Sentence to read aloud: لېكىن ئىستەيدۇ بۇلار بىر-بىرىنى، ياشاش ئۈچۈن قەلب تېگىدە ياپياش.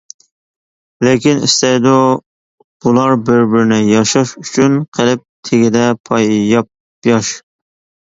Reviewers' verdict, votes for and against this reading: rejected, 0, 2